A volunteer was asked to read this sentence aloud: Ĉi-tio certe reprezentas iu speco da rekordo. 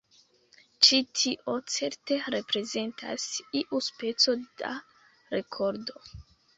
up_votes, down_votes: 2, 1